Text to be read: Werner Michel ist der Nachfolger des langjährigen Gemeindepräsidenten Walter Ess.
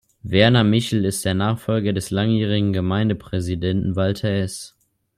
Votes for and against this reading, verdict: 2, 0, accepted